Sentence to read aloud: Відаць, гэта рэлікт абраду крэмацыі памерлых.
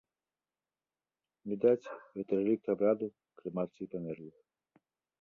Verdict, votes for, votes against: rejected, 0, 2